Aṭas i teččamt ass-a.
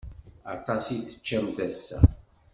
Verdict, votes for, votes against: accepted, 2, 1